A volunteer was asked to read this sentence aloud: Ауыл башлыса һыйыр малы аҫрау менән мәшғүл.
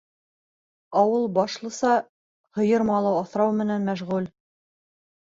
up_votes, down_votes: 2, 0